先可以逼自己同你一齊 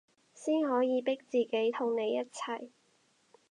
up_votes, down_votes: 4, 0